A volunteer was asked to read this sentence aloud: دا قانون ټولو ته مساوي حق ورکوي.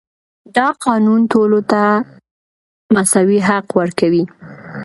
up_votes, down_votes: 2, 0